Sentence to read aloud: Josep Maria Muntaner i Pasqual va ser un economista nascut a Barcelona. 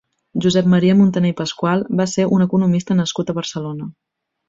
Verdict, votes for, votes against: accepted, 2, 0